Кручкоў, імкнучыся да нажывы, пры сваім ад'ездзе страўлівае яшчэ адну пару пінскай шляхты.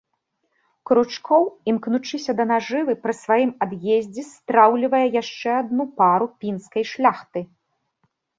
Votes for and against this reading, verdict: 0, 2, rejected